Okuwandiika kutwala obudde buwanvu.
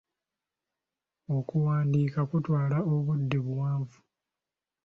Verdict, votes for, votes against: accepted, 2, 0